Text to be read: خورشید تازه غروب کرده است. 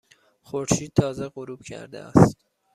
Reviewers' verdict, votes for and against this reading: accepted, 2, 0